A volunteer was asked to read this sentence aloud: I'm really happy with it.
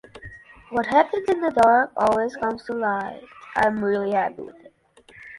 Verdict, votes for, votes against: rejected, 0, 2